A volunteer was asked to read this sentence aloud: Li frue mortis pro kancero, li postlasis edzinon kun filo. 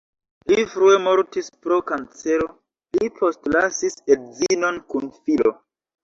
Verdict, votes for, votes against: accepted, 2, 1